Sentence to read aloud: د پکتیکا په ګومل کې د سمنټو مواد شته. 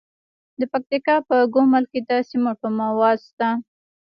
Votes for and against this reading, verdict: 1, 2, rejected